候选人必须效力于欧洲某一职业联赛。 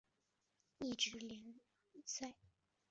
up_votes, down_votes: 0, 2